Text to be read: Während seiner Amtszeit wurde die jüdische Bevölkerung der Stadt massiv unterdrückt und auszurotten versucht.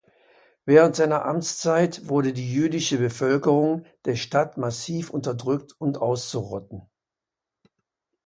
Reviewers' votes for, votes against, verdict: 0, 2, rejected